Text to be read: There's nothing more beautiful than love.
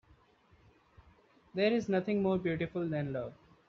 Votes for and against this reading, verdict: 2, 0, accepted